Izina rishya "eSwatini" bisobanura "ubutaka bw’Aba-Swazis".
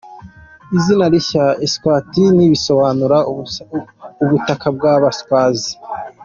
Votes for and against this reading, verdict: 1, 2, rejected